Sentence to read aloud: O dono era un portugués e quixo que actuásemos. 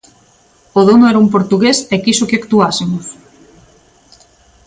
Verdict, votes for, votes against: accepted, 2, 0